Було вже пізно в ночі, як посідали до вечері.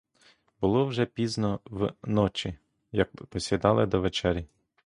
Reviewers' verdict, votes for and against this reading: rejected, 1, 2